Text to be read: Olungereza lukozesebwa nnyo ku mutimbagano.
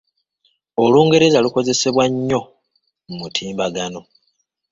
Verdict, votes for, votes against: accepted, 3, 1